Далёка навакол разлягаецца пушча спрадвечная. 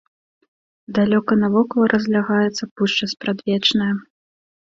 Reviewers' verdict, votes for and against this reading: rejected, 1, 2